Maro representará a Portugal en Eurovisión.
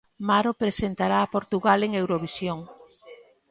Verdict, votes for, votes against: rejected, 0, 2